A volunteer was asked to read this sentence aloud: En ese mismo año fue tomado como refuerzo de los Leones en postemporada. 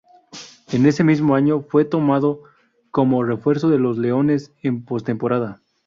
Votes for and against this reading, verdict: 2, 2, rejected